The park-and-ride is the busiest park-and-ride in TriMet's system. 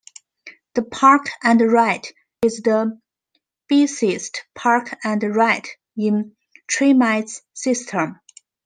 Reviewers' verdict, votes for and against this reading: rejected, 0, 2